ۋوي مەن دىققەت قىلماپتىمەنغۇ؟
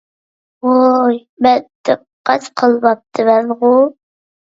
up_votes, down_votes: 1, 2